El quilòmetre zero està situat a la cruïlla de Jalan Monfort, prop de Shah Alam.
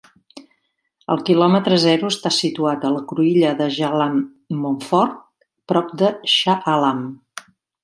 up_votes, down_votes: 2, 0